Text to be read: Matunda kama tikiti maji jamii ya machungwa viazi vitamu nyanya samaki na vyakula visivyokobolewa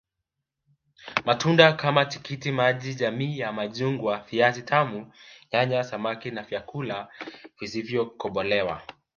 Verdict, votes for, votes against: rejected, 1, 2